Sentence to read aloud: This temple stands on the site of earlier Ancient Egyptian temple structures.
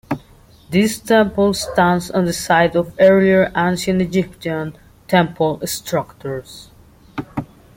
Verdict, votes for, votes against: rejected, 1, 2